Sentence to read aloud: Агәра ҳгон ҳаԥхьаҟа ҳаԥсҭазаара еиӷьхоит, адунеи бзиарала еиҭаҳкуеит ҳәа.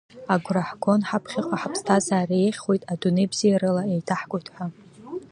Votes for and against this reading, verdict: 2, 0, accepted